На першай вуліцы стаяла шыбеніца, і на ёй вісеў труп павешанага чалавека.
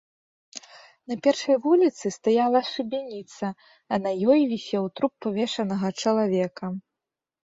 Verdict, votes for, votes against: rejected, 1, 2